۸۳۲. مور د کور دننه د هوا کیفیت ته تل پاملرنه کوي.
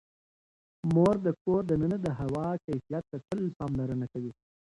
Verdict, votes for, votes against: rejected, 0, 2